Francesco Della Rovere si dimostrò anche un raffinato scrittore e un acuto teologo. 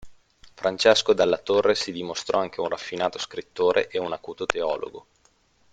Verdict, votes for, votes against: rejected, 1, 2